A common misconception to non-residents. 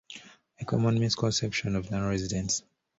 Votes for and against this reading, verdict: 0, 2, rejected